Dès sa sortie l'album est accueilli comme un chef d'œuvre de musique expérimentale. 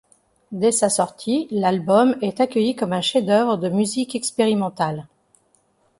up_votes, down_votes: 2, 0